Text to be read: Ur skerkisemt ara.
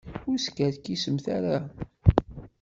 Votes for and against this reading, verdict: 2, 0, accepted